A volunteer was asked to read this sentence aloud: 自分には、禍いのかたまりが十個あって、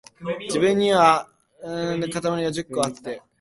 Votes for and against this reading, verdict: 0, 2, rejected